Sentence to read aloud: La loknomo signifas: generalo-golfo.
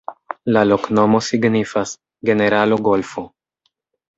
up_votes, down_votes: 2, 1